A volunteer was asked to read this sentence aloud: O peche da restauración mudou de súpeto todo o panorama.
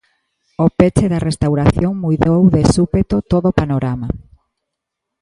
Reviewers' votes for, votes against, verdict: 2, 0, accepted